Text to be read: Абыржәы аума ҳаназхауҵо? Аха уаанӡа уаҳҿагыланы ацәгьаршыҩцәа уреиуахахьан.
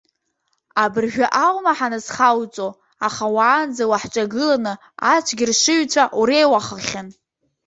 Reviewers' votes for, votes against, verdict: 1, 2, rejected